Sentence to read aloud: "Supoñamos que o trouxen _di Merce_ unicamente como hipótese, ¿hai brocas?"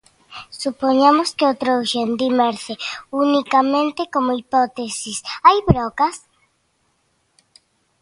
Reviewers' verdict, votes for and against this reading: rejected, 0, 2